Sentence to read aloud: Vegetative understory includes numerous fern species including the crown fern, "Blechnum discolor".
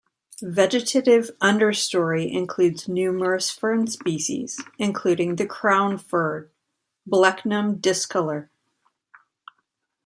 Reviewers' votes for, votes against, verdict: 0, 2, rejected